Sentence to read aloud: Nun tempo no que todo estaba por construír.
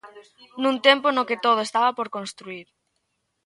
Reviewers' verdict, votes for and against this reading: rejected, 1, 2